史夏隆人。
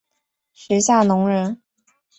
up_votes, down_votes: 4, 0